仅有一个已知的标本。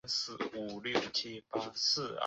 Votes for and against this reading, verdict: 1, 2, rejected